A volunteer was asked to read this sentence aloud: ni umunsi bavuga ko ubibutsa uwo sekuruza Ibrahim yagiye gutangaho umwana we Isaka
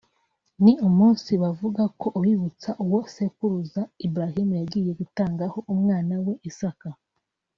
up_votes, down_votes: 4, 0